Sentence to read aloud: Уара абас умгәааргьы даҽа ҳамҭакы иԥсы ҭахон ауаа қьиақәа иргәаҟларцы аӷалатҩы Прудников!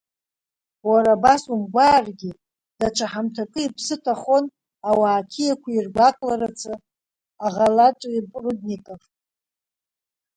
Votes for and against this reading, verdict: 3, 2, accepted